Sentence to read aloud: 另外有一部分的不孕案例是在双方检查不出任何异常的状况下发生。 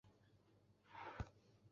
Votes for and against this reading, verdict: 0, 3, rejected